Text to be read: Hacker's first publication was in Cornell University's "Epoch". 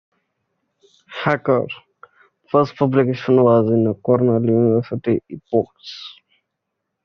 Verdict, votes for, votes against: rejected, 0, 2